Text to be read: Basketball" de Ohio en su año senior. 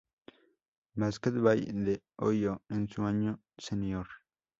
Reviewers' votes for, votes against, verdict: 0, 2, rejected